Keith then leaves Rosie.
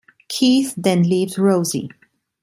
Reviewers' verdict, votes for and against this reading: rejected, 1, 2